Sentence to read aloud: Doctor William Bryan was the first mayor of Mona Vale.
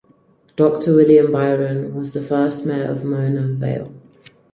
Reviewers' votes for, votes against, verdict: 2, 4, rejected